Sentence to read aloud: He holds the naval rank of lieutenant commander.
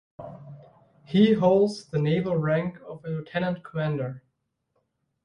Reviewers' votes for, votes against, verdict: 1, 2, rejected